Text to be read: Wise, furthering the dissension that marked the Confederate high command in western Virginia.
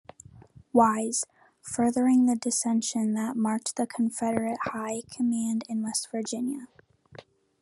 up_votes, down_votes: 1, 2